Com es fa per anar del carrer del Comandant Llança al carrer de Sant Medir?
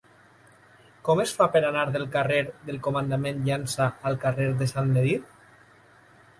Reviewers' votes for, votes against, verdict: 0, 2, rejected